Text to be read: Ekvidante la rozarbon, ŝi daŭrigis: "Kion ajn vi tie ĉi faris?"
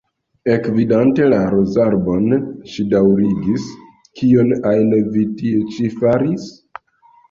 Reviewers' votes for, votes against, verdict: 1, 2, rejected